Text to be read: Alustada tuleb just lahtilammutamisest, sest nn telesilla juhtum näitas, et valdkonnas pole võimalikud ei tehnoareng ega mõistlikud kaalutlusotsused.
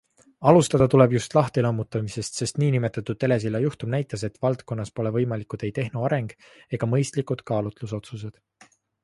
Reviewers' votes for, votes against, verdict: 2, 0, accepted